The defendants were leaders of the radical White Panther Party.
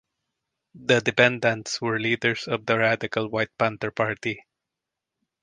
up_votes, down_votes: 2, 0